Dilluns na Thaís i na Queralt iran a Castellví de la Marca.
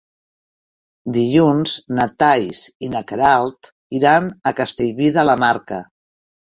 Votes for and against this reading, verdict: 1, 2, rejected